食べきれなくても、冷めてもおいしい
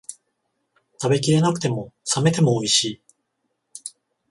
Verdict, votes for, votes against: accepted, 14, 0